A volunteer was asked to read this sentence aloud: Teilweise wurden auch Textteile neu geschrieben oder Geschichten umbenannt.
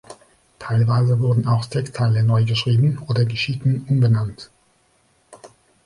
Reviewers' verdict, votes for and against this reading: rejected, 0, 2